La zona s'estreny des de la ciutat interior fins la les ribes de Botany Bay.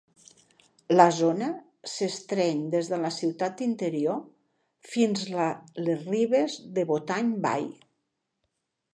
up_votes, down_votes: 2, 0